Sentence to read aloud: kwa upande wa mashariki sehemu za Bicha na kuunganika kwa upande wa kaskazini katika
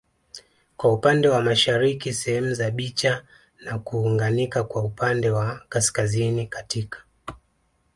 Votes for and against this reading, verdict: 2, 0, accepted